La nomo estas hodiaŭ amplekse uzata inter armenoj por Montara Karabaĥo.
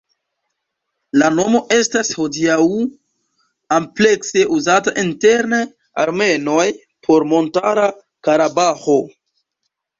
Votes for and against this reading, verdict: 0, 2, rejected